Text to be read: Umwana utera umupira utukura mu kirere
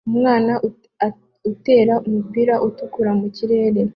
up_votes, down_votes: 2, 0